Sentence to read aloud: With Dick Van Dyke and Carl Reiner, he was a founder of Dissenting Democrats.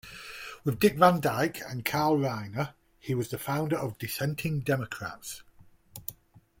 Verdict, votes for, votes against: accepted, 2, 1